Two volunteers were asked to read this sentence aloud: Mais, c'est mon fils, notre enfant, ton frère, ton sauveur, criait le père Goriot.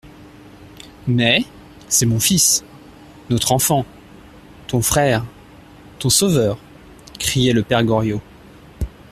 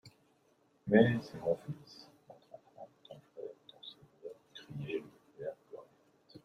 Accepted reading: first